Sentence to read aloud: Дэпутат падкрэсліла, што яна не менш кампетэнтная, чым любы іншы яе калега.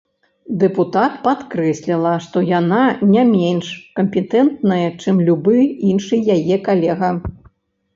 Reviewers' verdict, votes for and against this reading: accepted, 2, 0